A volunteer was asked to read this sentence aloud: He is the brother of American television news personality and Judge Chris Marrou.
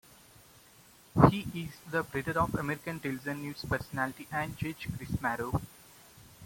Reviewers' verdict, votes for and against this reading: accepted, 2, 1